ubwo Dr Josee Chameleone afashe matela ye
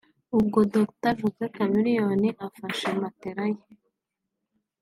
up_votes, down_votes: 4, 0